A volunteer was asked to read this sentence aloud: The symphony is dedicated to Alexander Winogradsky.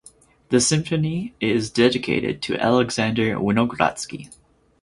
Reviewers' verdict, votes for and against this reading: accepted, 4, 0